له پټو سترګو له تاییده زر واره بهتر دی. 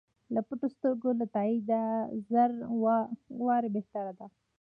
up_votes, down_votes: 0, 2